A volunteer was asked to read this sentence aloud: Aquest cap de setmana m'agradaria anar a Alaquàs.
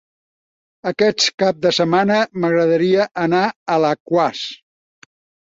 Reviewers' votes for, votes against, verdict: 2, 4, rejected